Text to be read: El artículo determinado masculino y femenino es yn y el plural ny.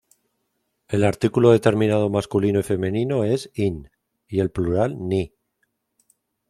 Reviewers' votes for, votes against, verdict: 2, 1, accepted